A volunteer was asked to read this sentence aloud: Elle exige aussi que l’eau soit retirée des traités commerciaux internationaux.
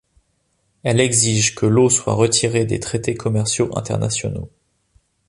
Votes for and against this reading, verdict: 0, 2, rejected